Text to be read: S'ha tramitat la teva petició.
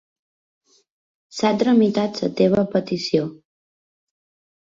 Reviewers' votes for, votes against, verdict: 0, 2, rejected